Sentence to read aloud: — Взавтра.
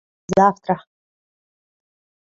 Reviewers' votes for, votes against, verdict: 2, 1, accepted